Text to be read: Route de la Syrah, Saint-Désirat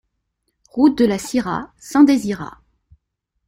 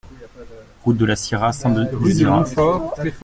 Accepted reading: first